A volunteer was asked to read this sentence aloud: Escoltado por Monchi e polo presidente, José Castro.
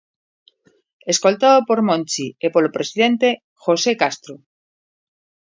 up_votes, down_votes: 3, 0